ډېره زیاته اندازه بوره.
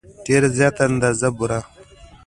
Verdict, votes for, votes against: accepted, 2, 0